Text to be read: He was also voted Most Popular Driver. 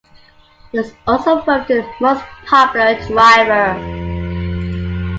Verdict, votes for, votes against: accepted, 2, 0